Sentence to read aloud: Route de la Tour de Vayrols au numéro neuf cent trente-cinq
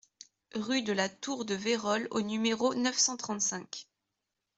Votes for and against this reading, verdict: 1, 2, rejected